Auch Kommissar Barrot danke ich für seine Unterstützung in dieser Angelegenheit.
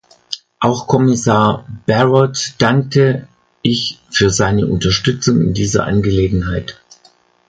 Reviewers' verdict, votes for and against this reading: rejected, 1, 2